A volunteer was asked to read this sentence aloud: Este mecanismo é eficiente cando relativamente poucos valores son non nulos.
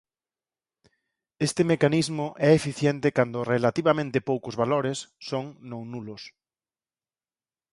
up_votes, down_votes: 4, 0